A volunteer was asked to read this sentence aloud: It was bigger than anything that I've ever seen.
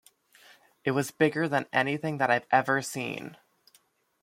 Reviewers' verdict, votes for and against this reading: accepted, 2, 0